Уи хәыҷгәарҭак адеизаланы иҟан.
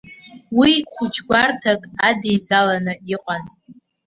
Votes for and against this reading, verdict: 1, 2, rejected